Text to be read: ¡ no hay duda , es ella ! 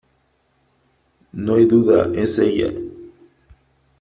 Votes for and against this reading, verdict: 3, 0, accepted